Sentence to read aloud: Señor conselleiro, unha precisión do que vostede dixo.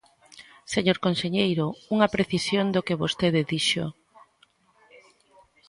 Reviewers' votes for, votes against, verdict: 2, 1, accepted